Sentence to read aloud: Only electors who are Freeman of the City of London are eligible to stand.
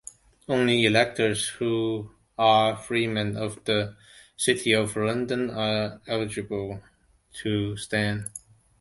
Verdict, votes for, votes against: accepted, 2, 0